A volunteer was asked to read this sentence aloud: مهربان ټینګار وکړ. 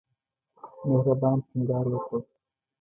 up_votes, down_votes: 1, 2